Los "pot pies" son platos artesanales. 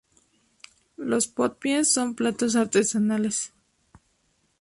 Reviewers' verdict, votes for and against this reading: rejected, 0, 2